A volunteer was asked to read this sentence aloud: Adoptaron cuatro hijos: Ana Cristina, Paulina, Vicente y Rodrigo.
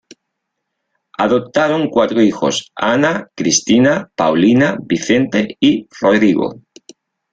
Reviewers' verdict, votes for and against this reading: accepted, 2, 0